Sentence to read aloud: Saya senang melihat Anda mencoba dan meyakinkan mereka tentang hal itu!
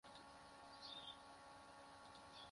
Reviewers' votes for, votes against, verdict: 0, 2, rejected